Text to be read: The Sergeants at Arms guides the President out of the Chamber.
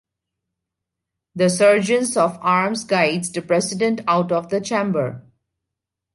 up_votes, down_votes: 2, 3